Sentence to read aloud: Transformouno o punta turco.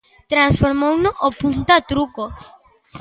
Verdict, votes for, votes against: rejected, 0, 2